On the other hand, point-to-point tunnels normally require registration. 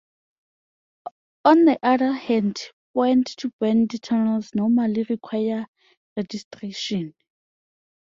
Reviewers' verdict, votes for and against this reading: accepted, 2, 0